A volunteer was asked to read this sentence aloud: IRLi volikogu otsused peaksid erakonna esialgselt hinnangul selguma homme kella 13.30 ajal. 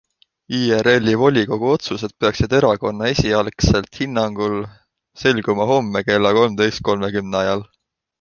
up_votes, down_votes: 0, 2